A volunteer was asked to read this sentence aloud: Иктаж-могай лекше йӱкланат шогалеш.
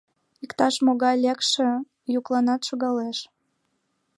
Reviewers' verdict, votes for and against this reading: accepted, 2, 0